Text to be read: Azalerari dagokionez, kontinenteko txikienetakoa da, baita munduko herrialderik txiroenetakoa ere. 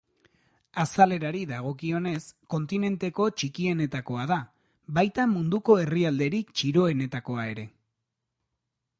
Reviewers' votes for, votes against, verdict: 2, 0, accepted